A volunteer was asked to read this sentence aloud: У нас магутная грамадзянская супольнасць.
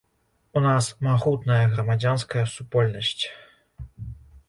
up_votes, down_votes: 2, 0